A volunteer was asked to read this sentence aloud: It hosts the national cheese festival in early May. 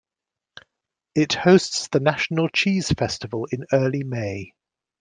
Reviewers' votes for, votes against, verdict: 2, 0, accepted